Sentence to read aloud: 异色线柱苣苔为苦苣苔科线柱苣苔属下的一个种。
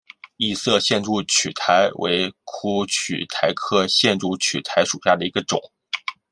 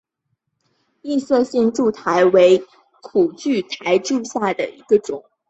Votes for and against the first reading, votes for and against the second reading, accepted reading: 0, 2, 9, 1, second